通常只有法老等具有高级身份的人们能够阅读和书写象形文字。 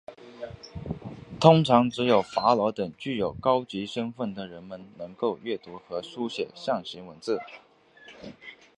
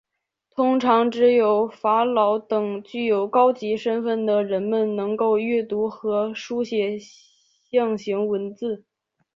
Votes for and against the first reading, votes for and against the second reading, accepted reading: 1, 2, 2, 1, second